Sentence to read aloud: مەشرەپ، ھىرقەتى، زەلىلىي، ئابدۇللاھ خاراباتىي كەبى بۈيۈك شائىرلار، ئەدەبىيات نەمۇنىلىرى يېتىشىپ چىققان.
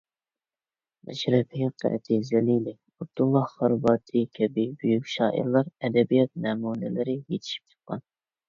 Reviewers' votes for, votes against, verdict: 1, 2, rejected